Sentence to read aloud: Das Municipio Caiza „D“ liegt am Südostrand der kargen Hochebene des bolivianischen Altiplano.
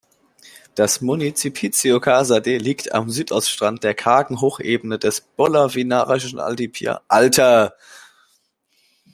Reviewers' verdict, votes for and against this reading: rejected, 0, 2